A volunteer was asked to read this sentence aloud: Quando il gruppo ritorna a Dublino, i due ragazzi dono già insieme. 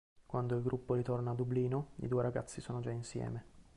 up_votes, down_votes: 1, 2